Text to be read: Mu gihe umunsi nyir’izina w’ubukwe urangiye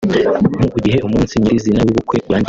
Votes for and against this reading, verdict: 0, 2, rejected